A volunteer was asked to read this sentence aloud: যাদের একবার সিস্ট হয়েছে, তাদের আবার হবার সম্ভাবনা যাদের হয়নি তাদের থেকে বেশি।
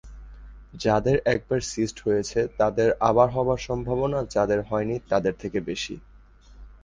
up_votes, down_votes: 2, 0